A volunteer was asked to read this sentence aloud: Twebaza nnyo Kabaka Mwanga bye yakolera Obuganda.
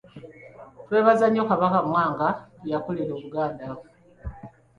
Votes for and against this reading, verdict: 2, 0, accepted